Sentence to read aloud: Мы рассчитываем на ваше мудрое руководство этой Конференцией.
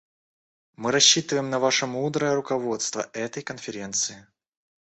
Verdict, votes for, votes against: rejected, 1, 2